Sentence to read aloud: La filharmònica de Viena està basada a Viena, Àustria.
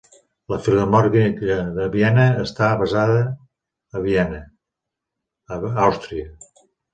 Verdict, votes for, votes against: rejected, 1, 2